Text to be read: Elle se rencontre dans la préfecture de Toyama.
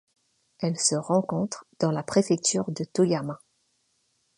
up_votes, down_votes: 2, 0